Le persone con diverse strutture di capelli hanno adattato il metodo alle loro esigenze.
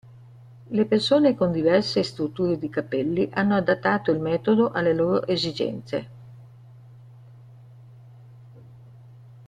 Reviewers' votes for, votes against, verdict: 2, 1, accepted